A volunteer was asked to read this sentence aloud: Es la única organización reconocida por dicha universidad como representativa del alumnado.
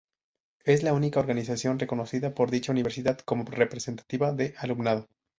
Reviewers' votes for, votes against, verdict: 0, 2, rejected